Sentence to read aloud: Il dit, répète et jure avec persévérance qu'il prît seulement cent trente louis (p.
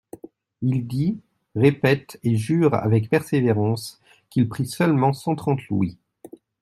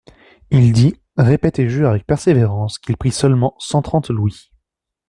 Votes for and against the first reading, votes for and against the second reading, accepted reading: 0, 2, 2, 0, second